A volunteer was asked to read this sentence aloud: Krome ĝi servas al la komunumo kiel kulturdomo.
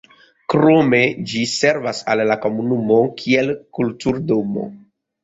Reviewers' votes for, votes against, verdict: 1, 2, rejected